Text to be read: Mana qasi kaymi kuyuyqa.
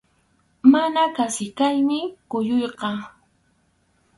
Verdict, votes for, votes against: rejected, 2, 2